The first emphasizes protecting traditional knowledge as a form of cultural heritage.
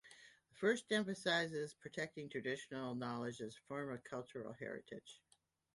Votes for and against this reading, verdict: 1, 2, rejected